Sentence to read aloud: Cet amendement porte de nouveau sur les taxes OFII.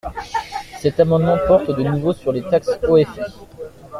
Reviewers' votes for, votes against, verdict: 1, 2, rejected